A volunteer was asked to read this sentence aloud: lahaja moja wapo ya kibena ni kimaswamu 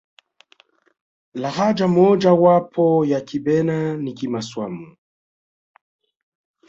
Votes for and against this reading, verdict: 2, 0, accepted